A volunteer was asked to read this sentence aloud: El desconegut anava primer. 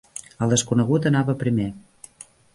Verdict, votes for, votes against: accepted, 3, 0